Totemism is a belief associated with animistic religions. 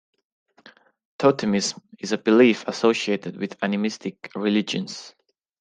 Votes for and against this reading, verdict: 2, 0, accepted